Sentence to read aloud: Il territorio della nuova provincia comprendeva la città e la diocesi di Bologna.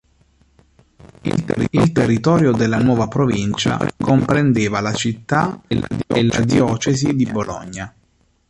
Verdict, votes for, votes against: rejected, 0, 2